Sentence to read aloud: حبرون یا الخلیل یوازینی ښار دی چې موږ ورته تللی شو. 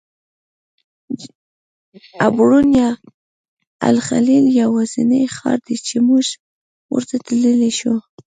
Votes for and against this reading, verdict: 0, 2, rejected